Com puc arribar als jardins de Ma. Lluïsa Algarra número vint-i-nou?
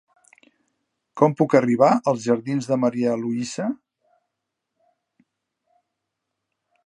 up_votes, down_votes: 0, 2